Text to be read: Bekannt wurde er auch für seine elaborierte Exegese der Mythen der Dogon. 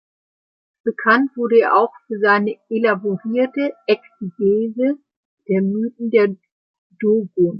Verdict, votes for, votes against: rejected, 1, 2